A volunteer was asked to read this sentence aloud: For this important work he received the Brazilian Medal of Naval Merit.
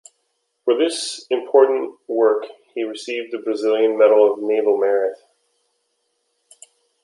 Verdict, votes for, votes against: accepted, 2, 0